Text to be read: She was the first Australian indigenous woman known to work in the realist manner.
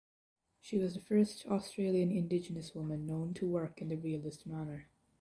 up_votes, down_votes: 2, 0